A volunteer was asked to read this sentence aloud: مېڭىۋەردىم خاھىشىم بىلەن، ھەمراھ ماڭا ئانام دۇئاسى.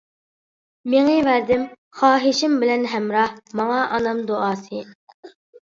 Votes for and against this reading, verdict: 2, 0, accepted